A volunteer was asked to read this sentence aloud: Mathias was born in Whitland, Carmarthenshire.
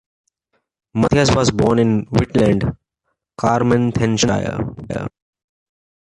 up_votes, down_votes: 0, 2